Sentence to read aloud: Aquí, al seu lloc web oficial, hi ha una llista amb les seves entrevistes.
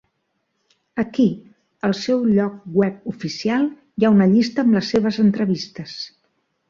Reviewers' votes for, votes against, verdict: 3, 0, accepted